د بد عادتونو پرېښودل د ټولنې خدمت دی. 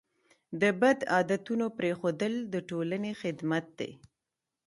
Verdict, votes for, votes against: accepted, 2, 0